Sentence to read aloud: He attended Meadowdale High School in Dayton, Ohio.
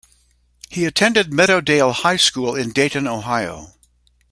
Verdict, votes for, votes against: accepted, 2, 0